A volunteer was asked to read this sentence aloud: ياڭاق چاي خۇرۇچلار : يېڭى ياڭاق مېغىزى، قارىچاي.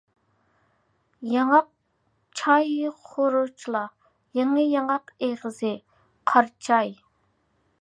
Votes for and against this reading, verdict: 1, 2, rejected